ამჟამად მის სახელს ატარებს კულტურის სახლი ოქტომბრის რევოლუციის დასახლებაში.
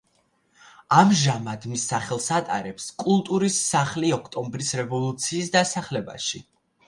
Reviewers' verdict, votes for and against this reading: accepted, 2, 0